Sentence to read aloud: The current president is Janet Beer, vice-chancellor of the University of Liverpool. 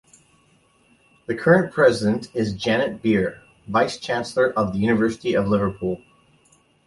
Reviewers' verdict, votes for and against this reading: accepted, 2, 0